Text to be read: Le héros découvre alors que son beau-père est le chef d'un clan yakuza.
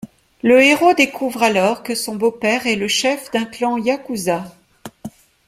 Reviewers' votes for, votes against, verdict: 2, 0, accepted